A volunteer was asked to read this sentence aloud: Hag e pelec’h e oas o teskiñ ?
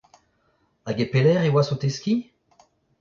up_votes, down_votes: 2, 1